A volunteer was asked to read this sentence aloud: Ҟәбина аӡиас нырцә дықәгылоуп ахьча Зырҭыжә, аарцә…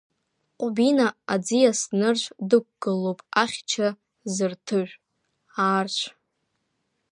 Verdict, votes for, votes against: rejected, 0, 2